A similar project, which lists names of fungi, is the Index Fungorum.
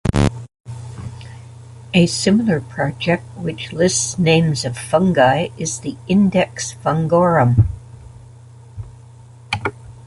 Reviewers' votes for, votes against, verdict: 3, 0, accepted